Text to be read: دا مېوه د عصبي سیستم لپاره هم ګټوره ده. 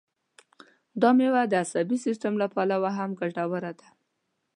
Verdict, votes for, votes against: rejected, 0, 2